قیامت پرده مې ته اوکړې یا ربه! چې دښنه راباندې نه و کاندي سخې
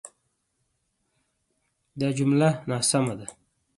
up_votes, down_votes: 1, 2